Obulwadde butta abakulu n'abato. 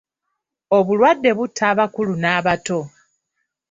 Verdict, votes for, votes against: accepted, 2, 0